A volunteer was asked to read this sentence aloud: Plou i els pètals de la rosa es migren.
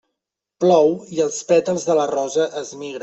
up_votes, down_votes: 0, 2